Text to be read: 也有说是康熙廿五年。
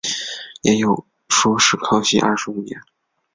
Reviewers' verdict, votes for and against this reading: accepted, 6, 1